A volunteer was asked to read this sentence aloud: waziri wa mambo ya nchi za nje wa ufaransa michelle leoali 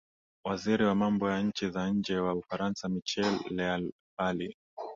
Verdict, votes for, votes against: accepted, 2, 0